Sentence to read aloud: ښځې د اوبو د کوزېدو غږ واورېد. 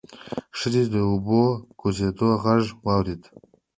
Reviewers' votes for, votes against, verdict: 1, 2, rejected